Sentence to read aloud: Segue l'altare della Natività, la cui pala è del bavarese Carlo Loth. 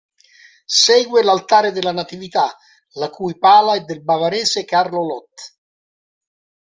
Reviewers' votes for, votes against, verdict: 2, 0, accepted